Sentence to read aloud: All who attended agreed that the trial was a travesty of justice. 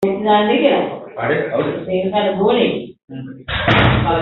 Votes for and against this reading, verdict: 0, 2, rejected